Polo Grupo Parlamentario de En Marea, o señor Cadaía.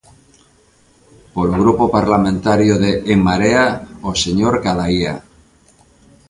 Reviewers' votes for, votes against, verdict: 2, 0, accepted